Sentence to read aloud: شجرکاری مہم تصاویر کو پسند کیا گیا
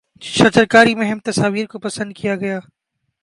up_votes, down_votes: 2, 0